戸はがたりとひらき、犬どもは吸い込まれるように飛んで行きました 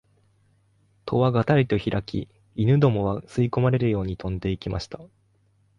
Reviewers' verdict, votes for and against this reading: accepted, 2, 0